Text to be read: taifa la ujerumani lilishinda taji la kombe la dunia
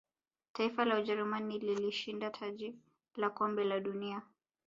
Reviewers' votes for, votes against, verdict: 2, 0, accepted